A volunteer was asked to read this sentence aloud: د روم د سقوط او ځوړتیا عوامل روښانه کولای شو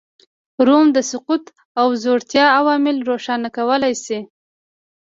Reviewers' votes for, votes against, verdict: 2, 1, accepted